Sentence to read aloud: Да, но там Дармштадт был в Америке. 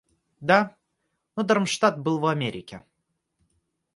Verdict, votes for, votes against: rejected, 1, 2